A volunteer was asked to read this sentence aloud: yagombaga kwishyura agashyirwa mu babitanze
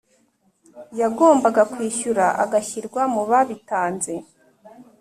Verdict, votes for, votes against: accepted, 2, 0